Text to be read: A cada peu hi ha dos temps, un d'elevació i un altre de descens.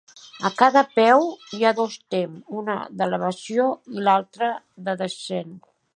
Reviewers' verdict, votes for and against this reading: rejected, 1, 2